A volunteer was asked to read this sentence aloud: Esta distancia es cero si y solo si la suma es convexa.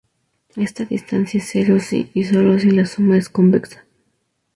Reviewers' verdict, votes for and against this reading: accepted, 2, 0